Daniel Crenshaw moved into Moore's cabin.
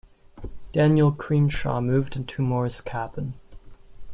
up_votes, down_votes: 0, 2